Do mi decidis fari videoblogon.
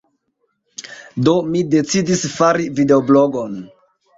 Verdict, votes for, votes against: accepted, 2, 0